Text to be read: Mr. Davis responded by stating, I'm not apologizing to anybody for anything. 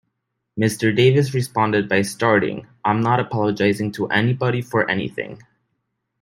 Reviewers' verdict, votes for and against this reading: rejected, 1, 2